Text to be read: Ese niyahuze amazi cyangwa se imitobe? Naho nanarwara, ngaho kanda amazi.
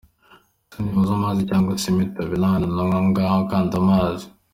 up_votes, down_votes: 1, 2